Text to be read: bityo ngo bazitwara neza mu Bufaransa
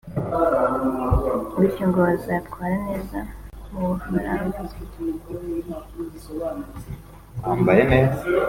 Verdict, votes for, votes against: rejected, 1, 2